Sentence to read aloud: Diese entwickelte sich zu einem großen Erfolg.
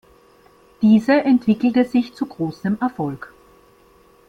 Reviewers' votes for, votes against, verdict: 1, 2, rejected